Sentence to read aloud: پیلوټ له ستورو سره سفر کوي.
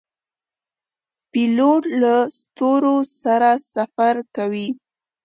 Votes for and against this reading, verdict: 2, 0, accepted